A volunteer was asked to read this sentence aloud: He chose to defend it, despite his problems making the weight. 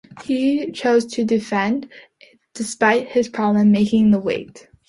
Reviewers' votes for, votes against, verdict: 0, 2, rejected